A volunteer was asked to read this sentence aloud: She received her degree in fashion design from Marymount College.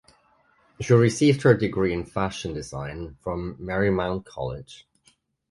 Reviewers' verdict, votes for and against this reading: accepted, 2, 0